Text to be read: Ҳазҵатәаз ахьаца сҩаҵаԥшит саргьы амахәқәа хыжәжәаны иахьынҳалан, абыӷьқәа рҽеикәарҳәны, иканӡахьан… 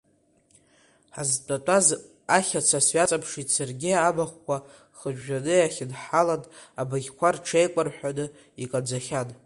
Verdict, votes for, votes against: rejected, 1, 2